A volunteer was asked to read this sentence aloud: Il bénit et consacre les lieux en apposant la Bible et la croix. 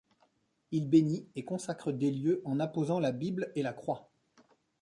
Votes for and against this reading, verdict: 1, 2, rejected